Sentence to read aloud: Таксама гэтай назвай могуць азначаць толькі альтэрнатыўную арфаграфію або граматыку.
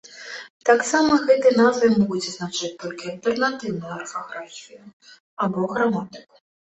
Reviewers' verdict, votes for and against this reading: accepted, 2, 0